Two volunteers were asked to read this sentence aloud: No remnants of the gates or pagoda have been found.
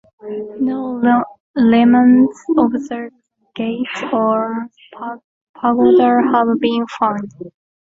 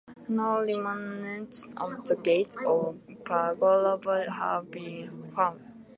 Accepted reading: second